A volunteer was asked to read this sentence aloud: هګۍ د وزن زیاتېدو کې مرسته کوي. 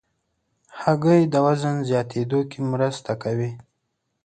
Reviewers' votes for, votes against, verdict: 2, 0, accepted